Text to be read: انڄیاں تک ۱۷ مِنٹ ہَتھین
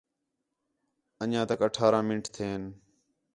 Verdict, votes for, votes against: rejected, 0, 2